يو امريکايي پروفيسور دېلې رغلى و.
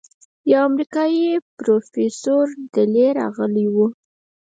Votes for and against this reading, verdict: 2, 4, rejected